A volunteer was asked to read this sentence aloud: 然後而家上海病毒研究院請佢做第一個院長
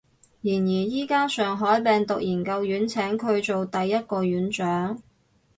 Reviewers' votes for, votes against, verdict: 0, 4, rejected